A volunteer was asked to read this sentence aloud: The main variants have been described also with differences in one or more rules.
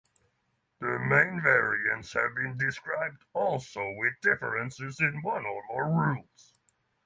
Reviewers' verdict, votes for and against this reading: accepted, 3, 0